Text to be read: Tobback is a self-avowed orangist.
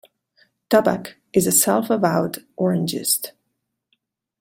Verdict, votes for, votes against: accepted, 2, 1